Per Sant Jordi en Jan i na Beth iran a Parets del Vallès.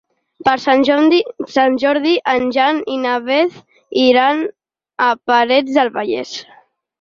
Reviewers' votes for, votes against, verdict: 0, 4, rejected